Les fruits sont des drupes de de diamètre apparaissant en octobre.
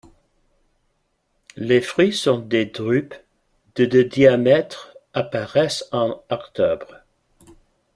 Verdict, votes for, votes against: rejected, 1, 2